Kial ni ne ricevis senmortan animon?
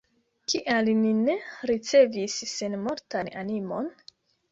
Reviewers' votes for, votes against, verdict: 2, 0, accepted